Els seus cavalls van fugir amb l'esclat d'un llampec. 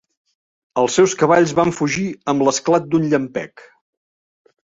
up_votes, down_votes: 3, 0